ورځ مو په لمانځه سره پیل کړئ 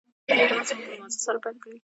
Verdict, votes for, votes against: rejected, 1, 2